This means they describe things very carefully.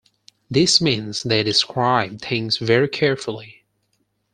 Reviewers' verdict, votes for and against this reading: accepted, 4, 0